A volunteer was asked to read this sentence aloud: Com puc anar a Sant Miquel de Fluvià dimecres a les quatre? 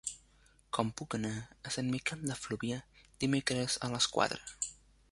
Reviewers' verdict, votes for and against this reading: accepted, 4, 1